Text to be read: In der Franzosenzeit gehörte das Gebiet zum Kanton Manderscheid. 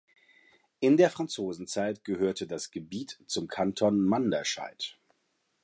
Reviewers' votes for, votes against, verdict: 2, 1, accepted